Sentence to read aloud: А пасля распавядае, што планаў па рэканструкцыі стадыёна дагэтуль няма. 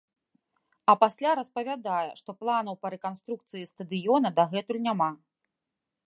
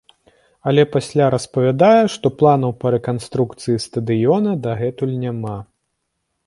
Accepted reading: first